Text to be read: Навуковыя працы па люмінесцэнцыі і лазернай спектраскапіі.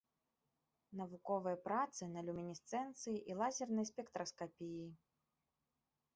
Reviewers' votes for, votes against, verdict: 2, 3, rejected